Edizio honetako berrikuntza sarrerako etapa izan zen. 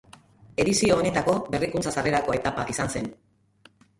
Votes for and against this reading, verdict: 0, 2, rejected